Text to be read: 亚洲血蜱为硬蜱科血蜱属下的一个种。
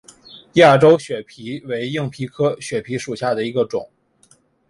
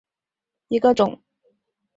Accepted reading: first